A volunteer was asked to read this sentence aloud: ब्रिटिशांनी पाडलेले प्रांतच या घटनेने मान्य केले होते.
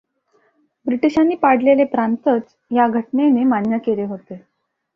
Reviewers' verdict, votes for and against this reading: accepted, 2, 0